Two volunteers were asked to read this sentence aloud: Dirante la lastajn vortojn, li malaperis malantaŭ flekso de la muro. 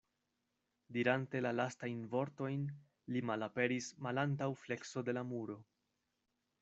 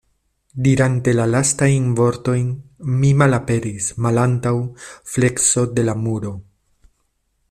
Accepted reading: first